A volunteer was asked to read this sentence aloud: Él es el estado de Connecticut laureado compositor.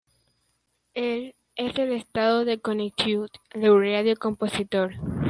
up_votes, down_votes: 0, 2